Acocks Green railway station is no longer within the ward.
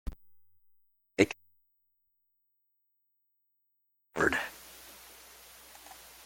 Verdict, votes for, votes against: rejected, 0, 2